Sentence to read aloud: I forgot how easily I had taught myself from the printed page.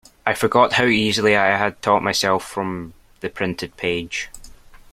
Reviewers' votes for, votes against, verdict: 2, 0, accepted